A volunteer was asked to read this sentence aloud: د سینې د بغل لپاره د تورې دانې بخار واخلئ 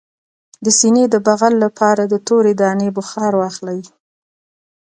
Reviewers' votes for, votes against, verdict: 2, 0, accepted